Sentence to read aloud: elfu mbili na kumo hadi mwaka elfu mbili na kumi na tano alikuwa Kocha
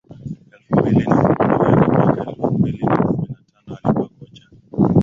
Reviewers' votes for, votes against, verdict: 0, 2, rejected